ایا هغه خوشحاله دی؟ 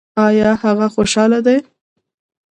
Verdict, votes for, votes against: rejected, 1, 2